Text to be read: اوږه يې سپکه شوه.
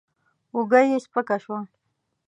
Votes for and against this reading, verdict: 3, 0, accepted